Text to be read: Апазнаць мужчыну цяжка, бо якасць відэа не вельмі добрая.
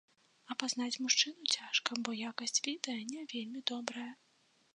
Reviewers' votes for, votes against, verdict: 2, 0, accepted